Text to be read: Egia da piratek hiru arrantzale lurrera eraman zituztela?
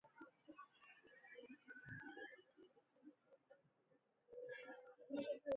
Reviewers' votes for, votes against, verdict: 0, 3, rejected